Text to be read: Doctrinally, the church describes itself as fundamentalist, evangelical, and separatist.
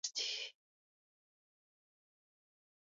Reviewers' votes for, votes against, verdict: 0, 2, rejected